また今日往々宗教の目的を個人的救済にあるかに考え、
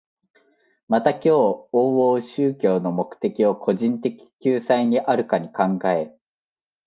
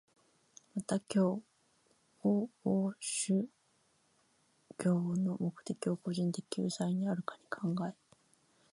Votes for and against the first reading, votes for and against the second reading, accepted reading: 2, 0, 0, 2, first